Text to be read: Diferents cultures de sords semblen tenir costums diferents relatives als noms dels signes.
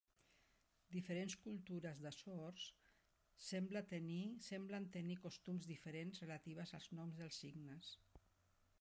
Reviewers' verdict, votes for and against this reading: rejected, 0, 2